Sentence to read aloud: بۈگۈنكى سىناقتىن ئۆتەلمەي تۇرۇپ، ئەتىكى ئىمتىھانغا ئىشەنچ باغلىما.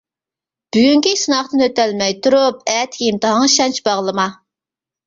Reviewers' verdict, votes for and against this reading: rejected, 1, 2